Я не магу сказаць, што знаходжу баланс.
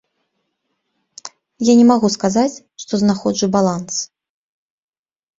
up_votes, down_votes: 2, 0